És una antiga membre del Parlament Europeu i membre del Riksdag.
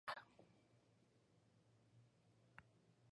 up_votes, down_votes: 1, 2